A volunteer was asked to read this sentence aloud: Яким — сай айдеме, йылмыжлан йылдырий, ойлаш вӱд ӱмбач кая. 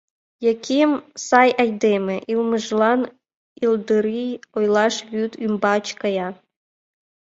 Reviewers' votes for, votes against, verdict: 2, 0, accepted